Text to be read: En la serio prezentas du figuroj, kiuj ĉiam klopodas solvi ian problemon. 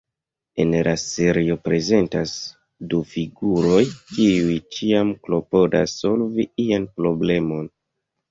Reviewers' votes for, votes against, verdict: 1, 2, rejected